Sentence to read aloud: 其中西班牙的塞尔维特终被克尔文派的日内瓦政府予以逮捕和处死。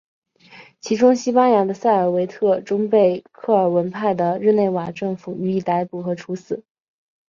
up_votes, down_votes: 2, 0